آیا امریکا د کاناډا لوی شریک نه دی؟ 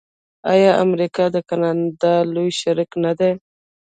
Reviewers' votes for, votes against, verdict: 1, 2, rejected